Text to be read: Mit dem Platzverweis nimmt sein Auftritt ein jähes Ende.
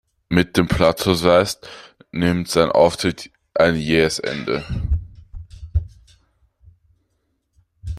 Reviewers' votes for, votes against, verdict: 0, 2, rejected